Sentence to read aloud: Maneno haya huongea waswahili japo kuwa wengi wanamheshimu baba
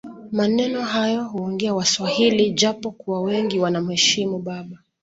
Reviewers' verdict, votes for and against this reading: accepted, 2, 0